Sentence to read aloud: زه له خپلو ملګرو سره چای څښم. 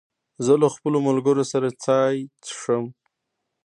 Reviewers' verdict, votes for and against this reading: rejected, 0, 2